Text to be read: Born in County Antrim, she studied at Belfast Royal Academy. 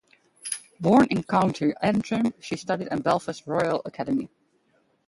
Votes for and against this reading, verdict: 2, 2, rejected